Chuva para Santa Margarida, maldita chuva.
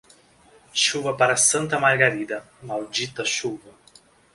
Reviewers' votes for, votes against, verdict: 2, 0, accepted